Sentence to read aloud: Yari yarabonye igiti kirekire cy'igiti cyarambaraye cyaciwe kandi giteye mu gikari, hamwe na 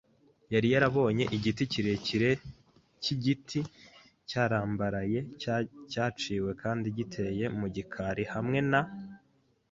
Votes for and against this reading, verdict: 1, 2, rejected